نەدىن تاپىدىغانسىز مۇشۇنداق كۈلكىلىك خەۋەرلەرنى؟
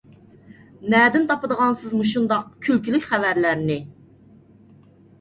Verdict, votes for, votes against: accepted, 2, 0